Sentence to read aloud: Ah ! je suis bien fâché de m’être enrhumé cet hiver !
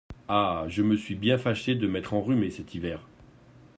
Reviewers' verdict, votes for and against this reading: rejected, 1, 2